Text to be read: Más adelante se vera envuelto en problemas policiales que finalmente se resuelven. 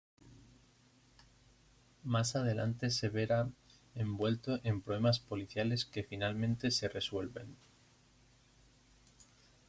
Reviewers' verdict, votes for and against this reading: rejected, 1, 2